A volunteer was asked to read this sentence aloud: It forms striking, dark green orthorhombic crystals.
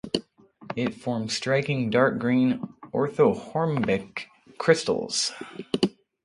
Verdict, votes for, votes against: rejected, 0, 6